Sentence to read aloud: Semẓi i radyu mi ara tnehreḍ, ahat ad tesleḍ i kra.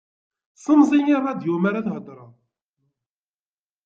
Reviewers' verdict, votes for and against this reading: rejected, 0, 2